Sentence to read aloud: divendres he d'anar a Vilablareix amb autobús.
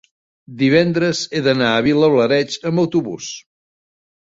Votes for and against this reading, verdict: 2, 0, accepted